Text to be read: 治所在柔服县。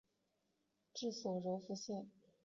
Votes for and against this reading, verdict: 1, 3, rejected